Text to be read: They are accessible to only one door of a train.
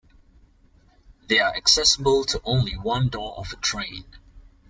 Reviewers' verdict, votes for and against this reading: accepted, 2, 0